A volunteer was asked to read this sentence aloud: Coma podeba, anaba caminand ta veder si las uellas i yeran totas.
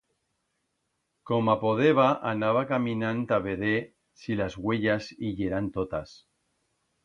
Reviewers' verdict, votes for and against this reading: accepted, 2, 0